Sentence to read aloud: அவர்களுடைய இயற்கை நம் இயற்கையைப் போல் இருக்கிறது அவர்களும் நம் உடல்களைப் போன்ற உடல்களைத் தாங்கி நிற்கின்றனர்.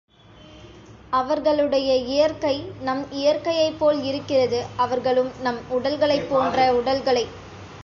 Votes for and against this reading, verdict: 1, 2, rejected